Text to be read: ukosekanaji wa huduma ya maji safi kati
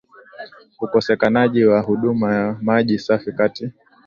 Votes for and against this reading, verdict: 2, 0, accepted